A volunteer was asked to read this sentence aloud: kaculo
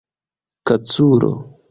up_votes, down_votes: 1, 2